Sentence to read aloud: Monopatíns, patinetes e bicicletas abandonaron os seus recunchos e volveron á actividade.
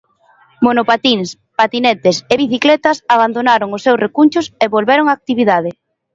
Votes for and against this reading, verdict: 2, 0, accepted